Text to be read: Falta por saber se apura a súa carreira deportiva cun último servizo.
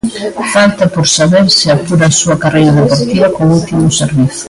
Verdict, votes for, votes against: rejected, 1, 2